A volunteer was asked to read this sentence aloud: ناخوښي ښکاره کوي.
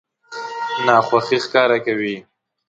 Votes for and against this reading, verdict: 0, 2, rejected